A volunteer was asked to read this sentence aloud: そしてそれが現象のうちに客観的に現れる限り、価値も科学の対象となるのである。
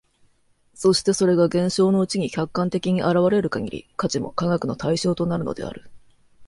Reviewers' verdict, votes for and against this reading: accepted, 2, 0